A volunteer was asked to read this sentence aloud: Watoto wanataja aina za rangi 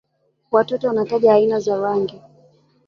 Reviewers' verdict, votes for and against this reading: accepted, 2, 1